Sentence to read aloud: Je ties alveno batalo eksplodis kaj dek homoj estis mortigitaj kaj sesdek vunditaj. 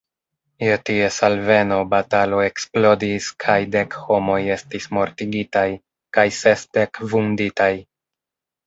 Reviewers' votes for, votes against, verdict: 2, 0, accepted